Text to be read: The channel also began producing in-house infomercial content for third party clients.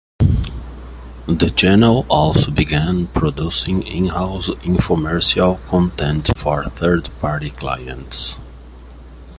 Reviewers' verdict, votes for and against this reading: accepted, 2, 0